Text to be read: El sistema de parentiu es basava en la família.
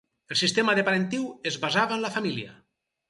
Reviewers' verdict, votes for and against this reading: accepted, 4, 0